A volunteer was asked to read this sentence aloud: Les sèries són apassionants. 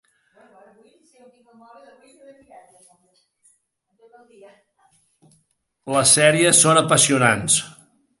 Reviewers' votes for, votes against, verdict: 0, 2, rejected